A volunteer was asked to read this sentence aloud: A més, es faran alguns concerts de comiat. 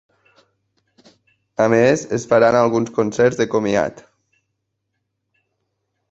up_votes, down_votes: 3, 0